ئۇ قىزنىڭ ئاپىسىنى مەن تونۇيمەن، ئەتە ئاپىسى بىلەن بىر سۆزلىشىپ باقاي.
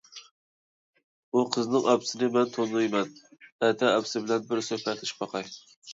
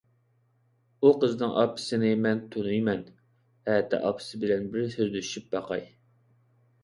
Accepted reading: second